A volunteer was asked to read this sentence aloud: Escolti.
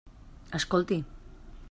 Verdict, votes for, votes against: accepted, 3, 0